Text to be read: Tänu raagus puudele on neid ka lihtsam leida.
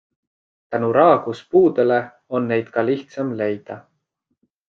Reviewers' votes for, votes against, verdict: 2, 0, accepted